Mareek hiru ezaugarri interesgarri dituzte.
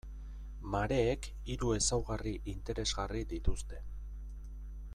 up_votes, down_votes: 2, 0